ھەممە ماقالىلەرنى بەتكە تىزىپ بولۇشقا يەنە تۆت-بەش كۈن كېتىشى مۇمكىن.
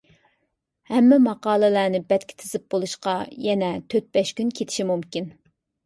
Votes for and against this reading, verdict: 2, 0, accepted